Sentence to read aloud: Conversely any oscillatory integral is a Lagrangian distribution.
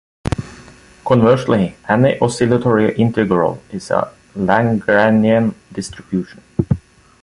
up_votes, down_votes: 1, 2